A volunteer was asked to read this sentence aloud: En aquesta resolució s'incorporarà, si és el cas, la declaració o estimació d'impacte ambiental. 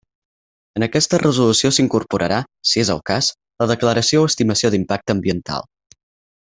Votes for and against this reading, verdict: 8, 0, accepted